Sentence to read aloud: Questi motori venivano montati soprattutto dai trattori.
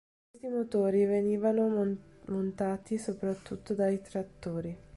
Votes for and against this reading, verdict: 1, 2, rejected